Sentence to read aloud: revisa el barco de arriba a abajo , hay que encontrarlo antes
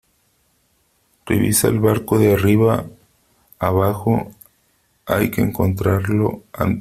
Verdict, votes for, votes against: rejected, 0, 3